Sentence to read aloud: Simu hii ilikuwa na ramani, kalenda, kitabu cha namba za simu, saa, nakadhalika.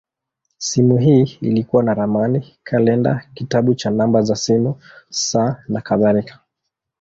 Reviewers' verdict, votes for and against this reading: accepted, 2, 0